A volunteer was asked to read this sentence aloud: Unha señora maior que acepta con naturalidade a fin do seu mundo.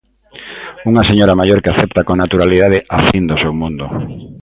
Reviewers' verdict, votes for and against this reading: rejected, 1, 2